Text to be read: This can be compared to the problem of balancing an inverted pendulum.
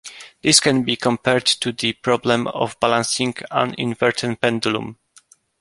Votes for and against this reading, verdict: 2, 1, accepted